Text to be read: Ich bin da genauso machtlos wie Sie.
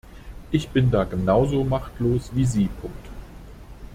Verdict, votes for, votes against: rejected, 0, 2